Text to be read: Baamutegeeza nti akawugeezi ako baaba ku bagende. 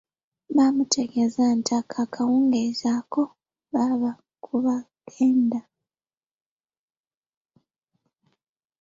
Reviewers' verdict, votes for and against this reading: rejected, 0, 2